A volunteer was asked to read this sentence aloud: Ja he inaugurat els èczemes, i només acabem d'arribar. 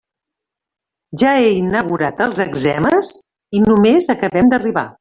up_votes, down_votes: 0, 2